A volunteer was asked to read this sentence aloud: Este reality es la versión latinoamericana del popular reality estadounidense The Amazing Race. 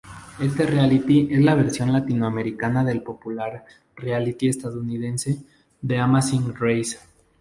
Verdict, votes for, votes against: accepted, 4, 0